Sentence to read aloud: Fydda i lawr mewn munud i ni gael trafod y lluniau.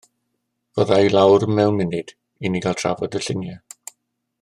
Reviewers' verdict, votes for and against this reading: accepted, 2, 0